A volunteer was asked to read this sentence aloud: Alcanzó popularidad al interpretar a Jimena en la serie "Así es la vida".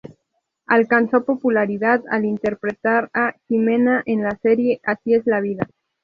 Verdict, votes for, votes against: accepted, 2, 0